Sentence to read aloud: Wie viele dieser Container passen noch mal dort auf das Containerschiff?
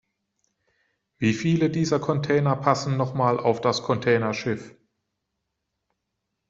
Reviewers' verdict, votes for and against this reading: rejected, 1, 2